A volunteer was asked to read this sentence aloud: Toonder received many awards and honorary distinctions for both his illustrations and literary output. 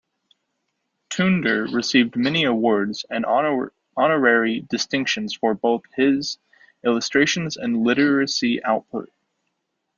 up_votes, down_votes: 0, 2